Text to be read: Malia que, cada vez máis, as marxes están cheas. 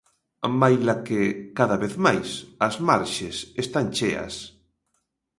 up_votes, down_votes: 0, 2